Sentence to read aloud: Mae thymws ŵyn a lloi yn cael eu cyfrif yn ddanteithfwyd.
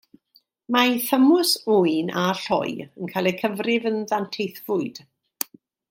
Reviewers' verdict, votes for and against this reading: accepted, 2, 0